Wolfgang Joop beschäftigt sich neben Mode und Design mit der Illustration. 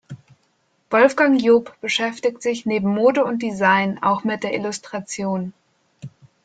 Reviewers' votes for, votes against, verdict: 0, 2, rejected